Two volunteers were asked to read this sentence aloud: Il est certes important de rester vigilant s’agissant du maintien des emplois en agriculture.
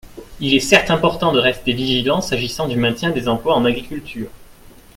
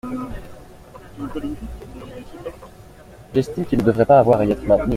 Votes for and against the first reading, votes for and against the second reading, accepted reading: 2, 0, 0, 2, first